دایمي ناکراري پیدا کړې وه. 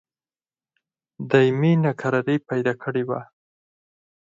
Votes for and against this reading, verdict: 0, 4, rejected